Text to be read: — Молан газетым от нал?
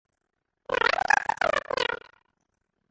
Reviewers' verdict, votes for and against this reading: rejected, 0, 2